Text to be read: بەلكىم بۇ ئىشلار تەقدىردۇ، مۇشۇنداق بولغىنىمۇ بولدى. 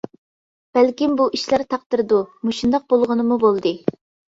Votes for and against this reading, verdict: 2, 0, accepted